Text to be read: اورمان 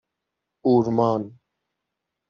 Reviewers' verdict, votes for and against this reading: accepted, 6, 0